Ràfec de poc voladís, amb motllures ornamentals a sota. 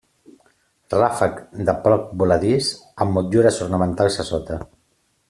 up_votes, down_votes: 2, 1